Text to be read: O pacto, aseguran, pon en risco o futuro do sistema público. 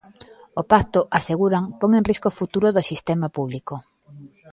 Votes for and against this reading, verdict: 2, 1, accepted